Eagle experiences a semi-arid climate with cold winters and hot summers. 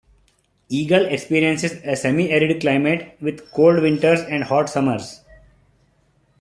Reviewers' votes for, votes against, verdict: 2, 0, accepted